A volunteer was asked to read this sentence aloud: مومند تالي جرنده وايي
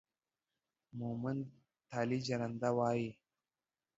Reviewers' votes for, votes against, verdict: 1, 2, rejected